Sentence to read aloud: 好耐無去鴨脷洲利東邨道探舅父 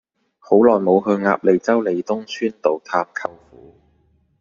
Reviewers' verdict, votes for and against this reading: rejected, 1, 2